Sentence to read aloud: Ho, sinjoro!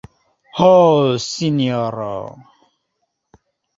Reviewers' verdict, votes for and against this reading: rejected, 1, 2